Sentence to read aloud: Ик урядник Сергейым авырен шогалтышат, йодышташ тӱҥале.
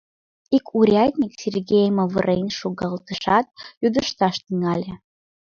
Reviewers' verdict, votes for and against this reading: rejected, 1, 2